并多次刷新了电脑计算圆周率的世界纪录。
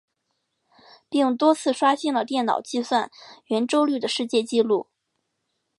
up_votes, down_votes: 2, 0